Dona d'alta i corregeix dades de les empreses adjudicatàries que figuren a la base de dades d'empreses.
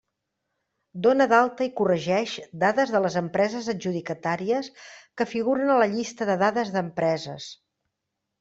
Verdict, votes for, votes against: rejected, 0, 2